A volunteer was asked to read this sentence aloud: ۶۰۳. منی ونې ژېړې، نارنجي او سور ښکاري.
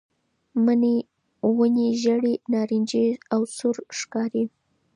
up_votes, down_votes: 0, 2